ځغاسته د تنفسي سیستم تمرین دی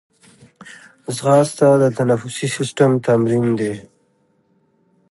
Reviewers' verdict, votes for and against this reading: accepted, 2, 0